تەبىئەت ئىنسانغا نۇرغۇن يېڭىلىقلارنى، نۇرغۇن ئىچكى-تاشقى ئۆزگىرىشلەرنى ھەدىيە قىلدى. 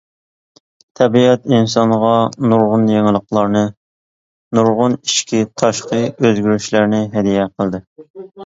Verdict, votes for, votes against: accepted, 2, 0